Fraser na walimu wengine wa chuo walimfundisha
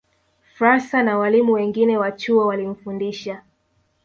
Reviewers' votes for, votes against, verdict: 1, 2, rejected